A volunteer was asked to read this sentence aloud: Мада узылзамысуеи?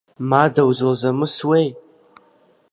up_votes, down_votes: 2, 0